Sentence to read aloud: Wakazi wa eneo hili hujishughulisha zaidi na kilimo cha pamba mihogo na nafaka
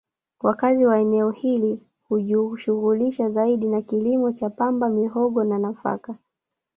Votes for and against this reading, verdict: 2, 3, rejected